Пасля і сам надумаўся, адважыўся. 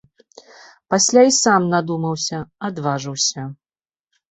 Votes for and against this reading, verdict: 0, 2, rejected